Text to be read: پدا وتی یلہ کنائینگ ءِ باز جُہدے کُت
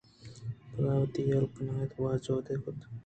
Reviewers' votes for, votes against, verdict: 1, 2, rejected